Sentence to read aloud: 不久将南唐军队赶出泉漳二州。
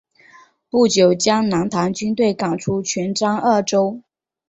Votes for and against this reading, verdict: 4, 0, accepted